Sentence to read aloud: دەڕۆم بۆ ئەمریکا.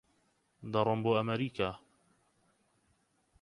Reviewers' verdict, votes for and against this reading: rejected, 2, 4